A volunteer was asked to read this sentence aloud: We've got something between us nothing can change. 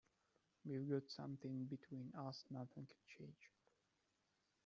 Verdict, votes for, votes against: rejected, 1, 2